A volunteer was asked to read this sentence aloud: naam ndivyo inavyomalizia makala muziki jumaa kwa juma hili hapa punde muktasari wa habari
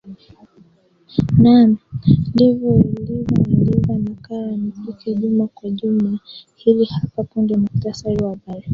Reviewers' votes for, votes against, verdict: 0, 2, rejected